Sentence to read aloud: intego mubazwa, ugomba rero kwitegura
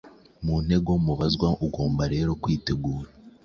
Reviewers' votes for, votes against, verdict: 3, 0, accepted